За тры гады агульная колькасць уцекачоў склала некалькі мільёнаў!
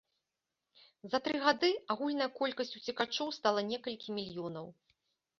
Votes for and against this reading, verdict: 1, 2, rejected